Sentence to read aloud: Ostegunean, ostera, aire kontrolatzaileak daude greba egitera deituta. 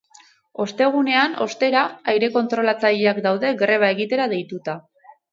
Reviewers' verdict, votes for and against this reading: accepted, 8, 0